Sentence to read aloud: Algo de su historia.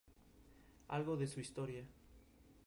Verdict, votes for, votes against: accepted, 2, 0